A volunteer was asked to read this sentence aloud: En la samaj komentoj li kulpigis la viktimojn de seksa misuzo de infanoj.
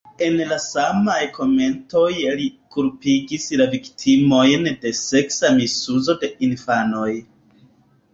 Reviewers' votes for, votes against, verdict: 2, 1, accepted